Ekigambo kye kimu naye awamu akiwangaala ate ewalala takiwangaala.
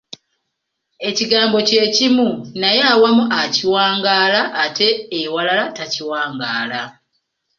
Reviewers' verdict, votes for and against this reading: accepted, 2, 0